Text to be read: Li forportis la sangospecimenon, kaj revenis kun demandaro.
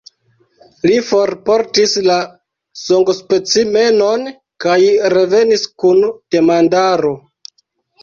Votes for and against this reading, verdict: 1, 2, rejected